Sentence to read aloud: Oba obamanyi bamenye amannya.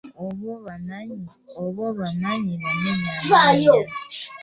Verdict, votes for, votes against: rejected, 0, 2